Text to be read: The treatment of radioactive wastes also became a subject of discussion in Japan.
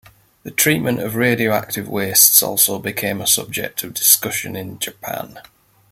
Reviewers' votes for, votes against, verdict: 2, 0, accepted